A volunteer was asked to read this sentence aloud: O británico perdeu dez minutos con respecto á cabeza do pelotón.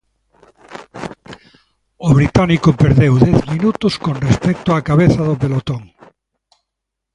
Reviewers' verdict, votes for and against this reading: accepted, 2, 0